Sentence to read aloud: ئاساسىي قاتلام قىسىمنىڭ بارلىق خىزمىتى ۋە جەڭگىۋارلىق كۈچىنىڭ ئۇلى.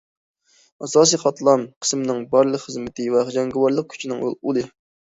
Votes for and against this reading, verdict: 1, 2, rejected